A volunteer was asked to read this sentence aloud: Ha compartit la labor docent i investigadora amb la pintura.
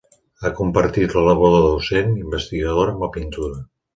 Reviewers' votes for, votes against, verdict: 1, 4, rejected